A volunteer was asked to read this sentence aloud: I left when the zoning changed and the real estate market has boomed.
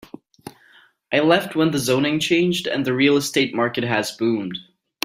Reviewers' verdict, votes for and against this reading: accepted, 2, 0